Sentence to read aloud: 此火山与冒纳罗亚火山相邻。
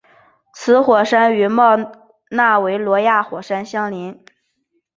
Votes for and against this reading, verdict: 2, 3, rejected